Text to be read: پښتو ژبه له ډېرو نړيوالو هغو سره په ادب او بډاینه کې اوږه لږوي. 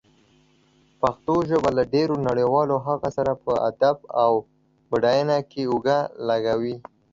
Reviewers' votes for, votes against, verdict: 3, 1, accepted